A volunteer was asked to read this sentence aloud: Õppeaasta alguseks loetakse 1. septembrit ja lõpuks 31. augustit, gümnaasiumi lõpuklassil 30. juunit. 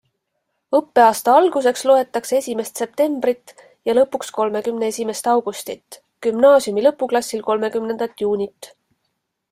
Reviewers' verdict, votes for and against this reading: rejected, 0, 2